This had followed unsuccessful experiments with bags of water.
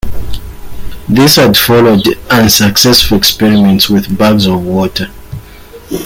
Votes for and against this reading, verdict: 1, 2, rejected